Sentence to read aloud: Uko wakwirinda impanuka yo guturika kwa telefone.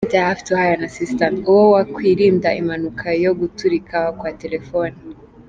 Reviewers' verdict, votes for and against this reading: rejected, 1, 2